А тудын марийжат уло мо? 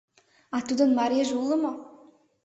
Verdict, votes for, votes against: rejected, 1, 2